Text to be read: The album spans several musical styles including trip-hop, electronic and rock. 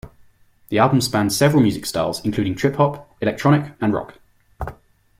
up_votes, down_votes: 2, 0